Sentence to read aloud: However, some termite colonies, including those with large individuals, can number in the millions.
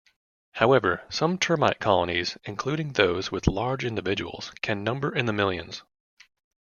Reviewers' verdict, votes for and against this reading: accepted, 2, 0